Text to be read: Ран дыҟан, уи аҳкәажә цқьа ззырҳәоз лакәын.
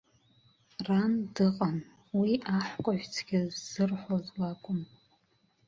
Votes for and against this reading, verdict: 1, 2, rejected